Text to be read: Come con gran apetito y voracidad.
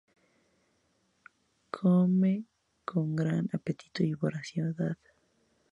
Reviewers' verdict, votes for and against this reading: rejected, 0, 4